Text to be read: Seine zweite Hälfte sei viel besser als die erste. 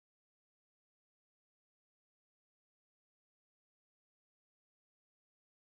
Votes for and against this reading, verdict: 0, 2, rejected